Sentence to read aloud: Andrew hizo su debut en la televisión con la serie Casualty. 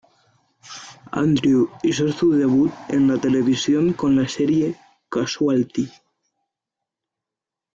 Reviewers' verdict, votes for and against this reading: accepted, 3, 0